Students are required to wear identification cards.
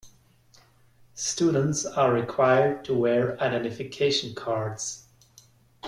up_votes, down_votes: 2, 0